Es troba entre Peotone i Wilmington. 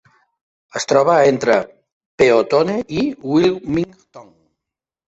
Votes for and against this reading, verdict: 0, 2, rejected